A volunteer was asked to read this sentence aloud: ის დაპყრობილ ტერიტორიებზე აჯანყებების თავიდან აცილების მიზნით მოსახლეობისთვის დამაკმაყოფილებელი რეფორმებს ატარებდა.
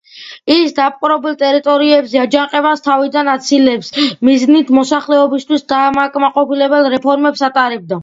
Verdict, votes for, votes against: accepted, 2, 0